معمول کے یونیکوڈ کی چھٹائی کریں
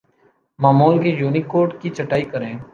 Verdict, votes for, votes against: accepted, 2, 0